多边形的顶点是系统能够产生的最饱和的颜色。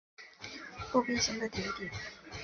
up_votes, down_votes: 2, 5